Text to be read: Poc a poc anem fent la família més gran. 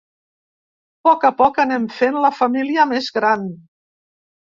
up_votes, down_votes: 3, 0